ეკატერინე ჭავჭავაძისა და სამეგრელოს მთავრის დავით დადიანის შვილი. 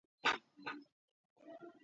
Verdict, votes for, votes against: accepted, 2, 1